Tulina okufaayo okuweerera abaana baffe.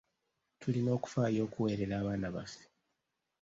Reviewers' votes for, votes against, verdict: 2, 0, accepted